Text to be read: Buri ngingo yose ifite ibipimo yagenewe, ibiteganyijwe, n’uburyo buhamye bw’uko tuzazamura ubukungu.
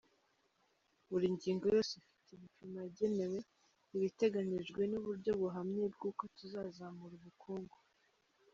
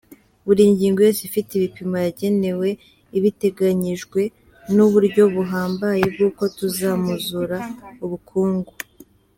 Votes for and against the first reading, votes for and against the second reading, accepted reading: 2, 0, 1, 2, first